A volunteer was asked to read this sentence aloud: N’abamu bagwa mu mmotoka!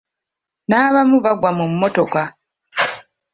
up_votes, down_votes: 2, 0